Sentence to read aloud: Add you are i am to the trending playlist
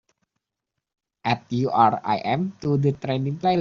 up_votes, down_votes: 0, 3